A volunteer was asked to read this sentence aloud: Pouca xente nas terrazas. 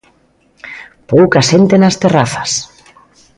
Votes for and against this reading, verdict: 3, 0, accepted